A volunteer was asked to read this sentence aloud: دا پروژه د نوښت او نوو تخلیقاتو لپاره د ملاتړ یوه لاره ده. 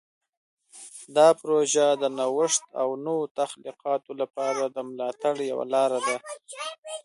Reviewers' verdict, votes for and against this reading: accepted, 2, 0